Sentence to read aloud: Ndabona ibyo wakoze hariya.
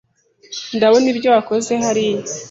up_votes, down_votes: 2, 0